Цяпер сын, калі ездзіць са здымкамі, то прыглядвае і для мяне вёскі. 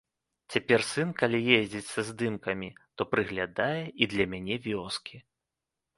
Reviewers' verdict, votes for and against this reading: rejected, 0, 2